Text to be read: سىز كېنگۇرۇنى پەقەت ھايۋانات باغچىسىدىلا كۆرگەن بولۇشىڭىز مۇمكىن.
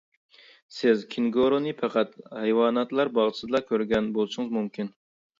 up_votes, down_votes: 1, 2